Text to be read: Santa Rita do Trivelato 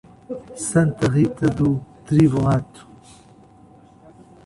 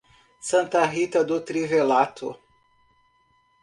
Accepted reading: second